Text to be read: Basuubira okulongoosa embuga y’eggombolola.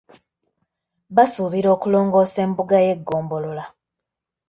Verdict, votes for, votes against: accepted, 2, 0